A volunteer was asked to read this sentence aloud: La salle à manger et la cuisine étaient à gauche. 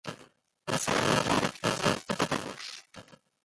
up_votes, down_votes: 0, 2